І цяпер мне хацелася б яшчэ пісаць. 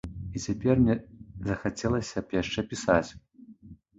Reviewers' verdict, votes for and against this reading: rejected, 0, 2